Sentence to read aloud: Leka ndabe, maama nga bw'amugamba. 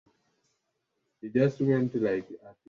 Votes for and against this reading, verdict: 0, 2, rejected